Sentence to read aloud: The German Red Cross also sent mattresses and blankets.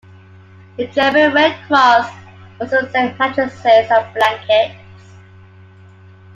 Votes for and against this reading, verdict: 2, 1, accepted